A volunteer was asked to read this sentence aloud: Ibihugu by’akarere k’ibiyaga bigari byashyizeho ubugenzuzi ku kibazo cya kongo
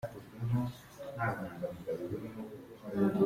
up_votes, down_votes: 0, 2